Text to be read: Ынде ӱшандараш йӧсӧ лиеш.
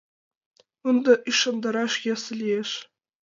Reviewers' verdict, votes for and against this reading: accepted, 2, 0